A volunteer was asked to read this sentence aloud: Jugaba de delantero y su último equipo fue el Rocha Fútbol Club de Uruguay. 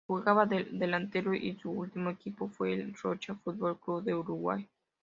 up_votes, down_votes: 2, 0